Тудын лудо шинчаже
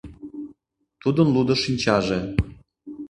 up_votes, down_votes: 2, 0